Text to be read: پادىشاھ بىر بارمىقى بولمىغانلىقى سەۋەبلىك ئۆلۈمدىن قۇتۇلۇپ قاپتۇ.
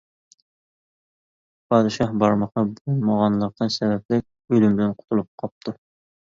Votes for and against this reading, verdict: 0, 2, rejected